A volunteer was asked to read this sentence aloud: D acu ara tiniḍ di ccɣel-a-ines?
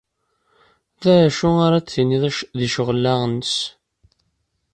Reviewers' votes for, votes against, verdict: 1, 2, rejected